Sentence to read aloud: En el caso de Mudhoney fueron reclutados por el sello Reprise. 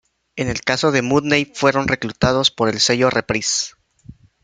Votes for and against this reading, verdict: 0, 2, rejected